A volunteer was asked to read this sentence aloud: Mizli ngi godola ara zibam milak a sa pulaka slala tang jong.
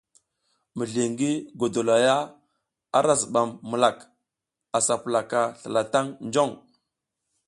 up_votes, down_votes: 2, 1